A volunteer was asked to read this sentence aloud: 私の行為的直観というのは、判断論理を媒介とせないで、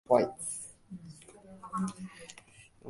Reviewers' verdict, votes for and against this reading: rejected, 2, 12